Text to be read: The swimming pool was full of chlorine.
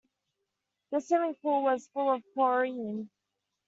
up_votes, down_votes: 1, 2